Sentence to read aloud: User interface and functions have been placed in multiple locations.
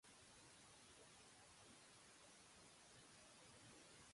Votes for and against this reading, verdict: 0, 2, rejected